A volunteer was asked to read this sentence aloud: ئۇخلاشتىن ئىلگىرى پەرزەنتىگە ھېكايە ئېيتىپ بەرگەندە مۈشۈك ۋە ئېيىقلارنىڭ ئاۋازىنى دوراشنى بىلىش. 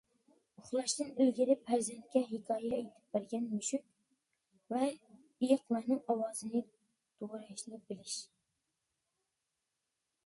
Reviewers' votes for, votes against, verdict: 0, 2, rejected